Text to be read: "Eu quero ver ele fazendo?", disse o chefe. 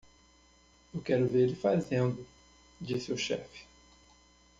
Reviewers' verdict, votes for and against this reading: rejected, 1, 2